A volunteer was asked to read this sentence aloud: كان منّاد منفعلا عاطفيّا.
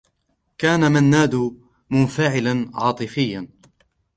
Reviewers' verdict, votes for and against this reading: accepted, 2, 0